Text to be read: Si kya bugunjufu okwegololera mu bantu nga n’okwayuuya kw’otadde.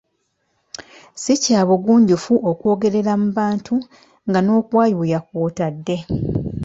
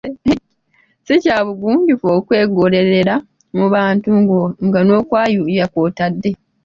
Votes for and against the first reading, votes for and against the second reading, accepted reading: 2, 1, 1, 2, first